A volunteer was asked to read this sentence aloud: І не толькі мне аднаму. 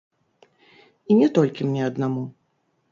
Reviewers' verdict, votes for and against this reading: rejected, 0, 2